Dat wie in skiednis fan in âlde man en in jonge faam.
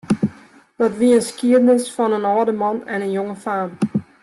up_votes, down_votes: 1, 2